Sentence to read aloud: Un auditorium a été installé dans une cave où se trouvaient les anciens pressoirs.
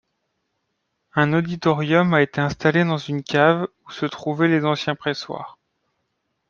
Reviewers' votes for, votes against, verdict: 2, 0, accepted